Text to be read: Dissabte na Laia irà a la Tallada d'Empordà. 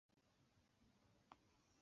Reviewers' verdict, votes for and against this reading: rejected, 0, 6